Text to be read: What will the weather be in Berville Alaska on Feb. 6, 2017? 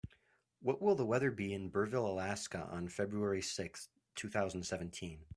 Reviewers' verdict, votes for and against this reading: rejected, 0, 2